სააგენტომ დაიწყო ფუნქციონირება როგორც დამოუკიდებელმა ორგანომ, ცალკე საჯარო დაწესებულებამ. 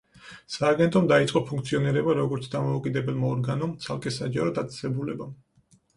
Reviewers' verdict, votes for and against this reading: accepted, 4, 0